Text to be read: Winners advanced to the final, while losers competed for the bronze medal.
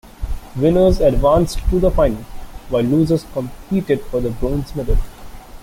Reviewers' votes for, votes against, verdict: 2, 1, accepted